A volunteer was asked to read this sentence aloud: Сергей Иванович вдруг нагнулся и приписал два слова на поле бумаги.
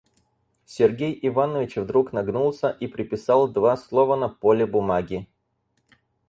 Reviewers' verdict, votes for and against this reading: accepted, 4, 0